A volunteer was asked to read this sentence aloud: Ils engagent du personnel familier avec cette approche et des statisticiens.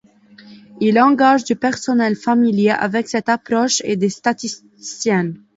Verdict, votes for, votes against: rejected, 1, 2